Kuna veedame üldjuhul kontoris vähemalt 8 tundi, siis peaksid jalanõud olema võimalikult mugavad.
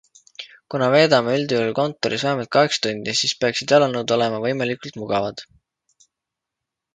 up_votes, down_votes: 0, 2